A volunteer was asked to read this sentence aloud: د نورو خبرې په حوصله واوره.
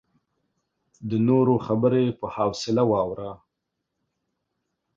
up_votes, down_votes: 2, 0